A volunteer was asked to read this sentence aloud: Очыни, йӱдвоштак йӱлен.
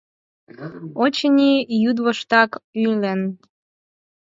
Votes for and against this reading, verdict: 0, 4, rejected